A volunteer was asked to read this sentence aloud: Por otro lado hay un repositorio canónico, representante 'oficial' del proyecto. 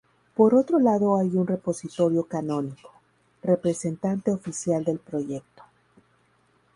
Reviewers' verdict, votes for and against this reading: rejected, 0, 2